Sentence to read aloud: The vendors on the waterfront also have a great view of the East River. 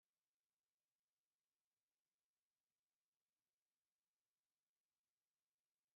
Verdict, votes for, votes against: rejected, 0, 2